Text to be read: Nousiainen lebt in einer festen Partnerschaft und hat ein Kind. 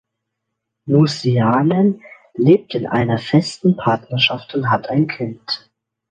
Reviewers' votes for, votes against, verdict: 2, 0, accepted